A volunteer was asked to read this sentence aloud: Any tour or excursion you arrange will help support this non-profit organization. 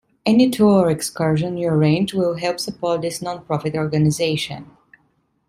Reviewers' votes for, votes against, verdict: 2, 0, accepted